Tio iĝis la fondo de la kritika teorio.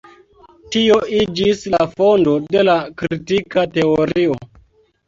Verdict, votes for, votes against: accepted, 2, 0